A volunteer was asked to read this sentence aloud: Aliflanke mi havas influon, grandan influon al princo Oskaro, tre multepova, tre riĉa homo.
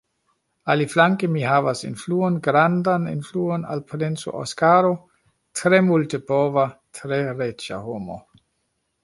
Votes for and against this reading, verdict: 2, 0, accepted